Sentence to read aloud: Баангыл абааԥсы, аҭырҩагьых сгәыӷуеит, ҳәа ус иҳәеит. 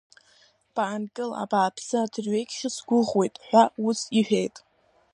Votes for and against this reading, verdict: 1, 2, rejected